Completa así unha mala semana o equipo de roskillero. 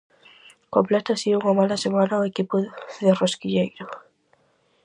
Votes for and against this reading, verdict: 0, 4, rejected